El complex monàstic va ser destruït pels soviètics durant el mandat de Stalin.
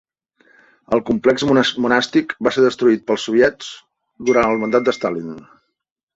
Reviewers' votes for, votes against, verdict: 0, 2, rejected